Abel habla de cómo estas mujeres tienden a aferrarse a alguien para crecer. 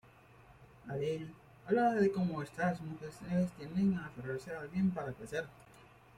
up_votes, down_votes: 0, 3